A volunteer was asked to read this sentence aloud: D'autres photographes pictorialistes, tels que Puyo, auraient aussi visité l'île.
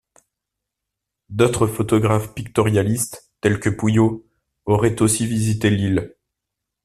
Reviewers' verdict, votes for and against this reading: accepted, 2, 0